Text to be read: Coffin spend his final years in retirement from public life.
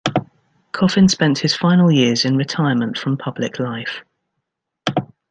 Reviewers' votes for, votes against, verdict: 1, 2, rejected